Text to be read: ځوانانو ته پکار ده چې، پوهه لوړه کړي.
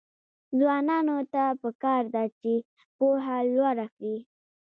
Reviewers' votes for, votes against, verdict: 2, 0, accepted